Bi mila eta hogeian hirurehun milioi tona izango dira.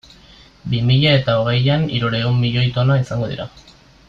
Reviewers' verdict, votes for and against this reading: accepted, 2, 0